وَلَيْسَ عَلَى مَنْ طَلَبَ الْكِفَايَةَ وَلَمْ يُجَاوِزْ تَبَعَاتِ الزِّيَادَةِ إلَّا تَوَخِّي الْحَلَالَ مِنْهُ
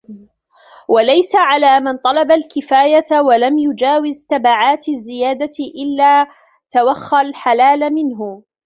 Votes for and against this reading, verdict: 0, 2, rejected